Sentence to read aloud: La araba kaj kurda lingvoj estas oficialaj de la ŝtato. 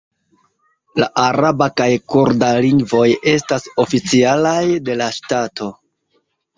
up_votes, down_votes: 0, 2